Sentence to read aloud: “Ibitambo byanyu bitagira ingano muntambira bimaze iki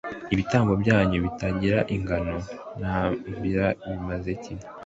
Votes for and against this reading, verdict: 2, 1, accepted